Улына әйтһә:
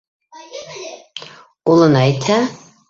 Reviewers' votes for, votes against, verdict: 0, 2, rejected